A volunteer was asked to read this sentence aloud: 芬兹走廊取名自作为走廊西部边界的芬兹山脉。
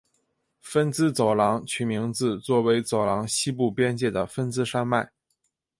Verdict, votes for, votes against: accepted, 3, 0